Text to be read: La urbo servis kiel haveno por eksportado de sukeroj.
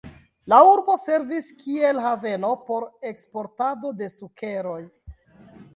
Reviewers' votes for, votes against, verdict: 2, 0, accepted